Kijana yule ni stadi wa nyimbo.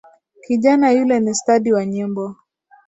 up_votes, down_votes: 2, 0